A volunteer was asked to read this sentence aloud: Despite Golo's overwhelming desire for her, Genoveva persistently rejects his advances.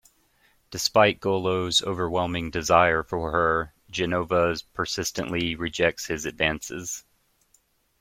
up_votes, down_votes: 1, 2